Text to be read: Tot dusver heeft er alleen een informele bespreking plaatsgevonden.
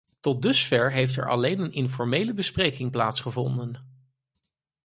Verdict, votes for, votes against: accepted, 4, 0